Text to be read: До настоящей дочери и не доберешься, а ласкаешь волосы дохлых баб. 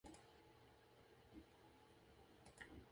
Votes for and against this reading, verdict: 0, 4, rejected